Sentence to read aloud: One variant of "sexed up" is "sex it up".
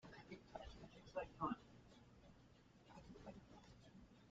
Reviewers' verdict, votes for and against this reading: rejected, 0, 2